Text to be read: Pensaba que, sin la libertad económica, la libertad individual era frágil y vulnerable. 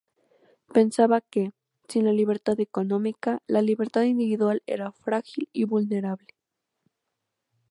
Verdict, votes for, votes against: accepted, 2, 0